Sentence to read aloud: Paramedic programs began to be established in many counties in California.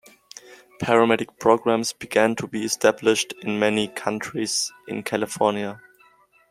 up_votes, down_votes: 1, 2